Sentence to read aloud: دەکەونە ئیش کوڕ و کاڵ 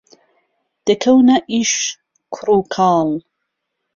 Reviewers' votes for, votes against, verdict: 2, 0, accepted